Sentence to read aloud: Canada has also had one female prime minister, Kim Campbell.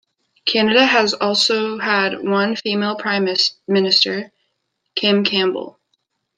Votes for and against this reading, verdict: 1, 2, rejected